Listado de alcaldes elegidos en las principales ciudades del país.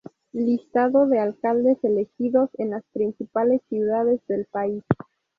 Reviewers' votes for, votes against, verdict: 2, 0, accepted